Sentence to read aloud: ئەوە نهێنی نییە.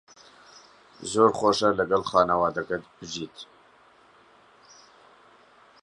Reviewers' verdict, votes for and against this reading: rejected, 0, 2